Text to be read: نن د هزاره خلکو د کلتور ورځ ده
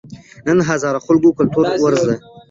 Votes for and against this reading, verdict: 1, 2, rejected